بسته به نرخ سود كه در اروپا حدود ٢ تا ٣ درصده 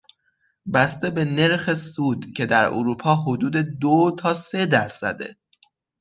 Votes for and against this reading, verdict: 0, 2, rejected